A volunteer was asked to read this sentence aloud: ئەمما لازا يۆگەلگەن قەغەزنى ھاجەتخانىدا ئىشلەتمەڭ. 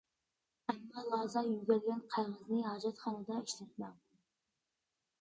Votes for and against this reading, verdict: 2, 1, accepted